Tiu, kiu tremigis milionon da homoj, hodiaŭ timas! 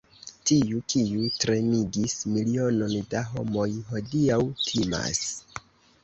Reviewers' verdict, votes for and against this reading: rejected, 0, 3